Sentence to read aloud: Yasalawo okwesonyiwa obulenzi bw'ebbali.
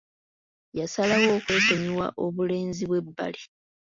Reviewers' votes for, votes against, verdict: 1, 2, rejected